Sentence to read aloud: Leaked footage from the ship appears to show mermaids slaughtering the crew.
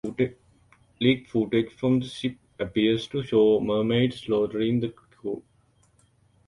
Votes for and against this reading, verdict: 0, 2, rejected